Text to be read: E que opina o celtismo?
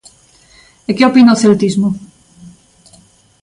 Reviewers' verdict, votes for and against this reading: accepted, 2, 0